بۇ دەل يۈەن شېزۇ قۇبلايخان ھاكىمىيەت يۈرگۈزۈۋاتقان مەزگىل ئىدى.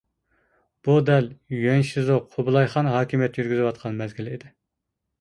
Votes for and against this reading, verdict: 1, 2, rejected